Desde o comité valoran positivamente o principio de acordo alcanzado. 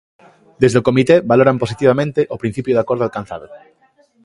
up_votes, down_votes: 2, 0